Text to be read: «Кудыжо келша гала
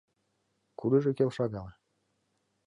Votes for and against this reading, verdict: 2, 1, accepted